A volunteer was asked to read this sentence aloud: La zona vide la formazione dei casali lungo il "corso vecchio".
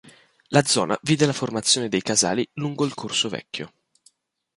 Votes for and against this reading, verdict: 2, 0, accepted